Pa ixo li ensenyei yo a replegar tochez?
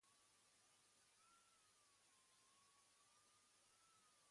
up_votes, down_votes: 1, 2